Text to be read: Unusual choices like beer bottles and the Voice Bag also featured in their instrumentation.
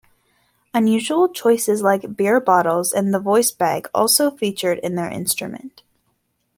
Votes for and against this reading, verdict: 0, 3, rejected